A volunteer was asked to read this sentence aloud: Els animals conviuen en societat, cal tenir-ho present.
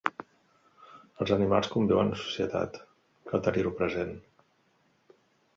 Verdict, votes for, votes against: accepted, 2, 0